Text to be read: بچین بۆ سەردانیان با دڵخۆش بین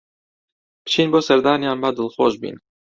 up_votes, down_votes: 2, 0